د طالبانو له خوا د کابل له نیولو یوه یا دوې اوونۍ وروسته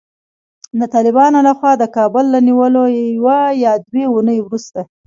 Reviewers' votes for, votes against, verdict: 2, 0, accepted